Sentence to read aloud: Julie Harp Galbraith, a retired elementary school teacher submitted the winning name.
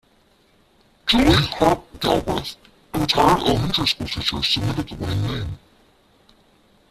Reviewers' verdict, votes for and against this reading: rejected, 0, 2